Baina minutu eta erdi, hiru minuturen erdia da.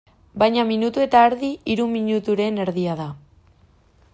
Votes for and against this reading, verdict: 2, 0, accepted